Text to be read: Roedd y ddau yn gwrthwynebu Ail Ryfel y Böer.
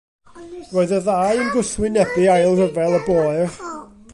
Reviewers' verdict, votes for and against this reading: rejected, 0, 2